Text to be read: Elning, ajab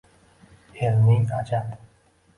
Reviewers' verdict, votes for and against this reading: rejected, 0, 2